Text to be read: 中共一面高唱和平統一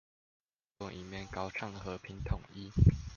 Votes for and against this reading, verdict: 0, 2, rejected